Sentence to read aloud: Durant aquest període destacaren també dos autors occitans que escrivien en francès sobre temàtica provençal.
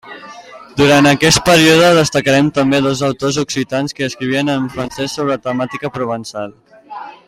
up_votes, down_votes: 0, 2